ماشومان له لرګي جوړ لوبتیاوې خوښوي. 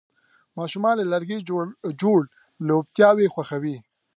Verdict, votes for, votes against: accepted, 3, 0